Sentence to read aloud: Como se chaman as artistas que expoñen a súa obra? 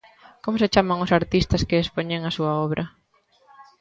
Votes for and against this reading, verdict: 0, 2, rejected